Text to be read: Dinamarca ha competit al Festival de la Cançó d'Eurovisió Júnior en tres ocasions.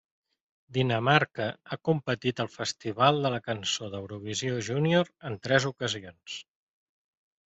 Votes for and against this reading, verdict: 2, 0, accepted